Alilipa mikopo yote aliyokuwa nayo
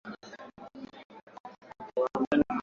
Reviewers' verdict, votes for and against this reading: rejected, 0, 2